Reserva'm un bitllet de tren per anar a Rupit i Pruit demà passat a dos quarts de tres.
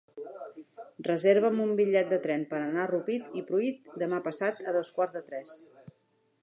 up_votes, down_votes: 0, 3